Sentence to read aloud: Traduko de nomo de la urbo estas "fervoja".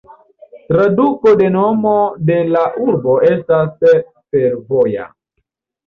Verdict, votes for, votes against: rejected, 0, 2